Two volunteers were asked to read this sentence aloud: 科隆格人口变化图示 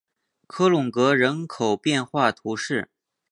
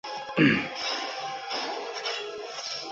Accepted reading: first